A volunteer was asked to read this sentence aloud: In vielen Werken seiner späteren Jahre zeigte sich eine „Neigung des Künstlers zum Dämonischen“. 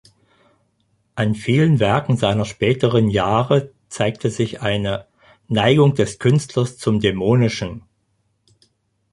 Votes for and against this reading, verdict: 0, 4, rejected